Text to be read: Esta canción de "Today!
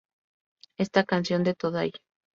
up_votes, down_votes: 0, 2